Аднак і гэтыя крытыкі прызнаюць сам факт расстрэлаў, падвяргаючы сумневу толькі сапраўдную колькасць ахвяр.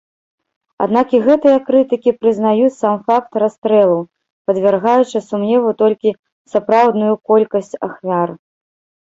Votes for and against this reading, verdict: 1, 2, rejected